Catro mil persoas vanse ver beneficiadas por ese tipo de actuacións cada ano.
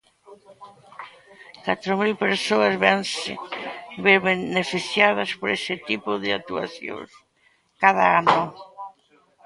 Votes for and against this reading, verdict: 1, 3, rejected